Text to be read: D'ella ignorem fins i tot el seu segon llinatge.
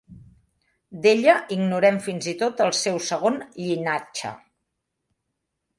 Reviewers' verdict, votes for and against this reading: accepted, 3, 0